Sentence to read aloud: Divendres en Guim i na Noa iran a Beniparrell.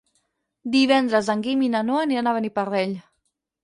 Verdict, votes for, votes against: rejected, 4, 6